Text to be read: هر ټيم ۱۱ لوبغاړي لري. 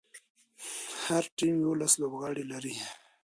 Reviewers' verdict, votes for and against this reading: rejected, 0, 2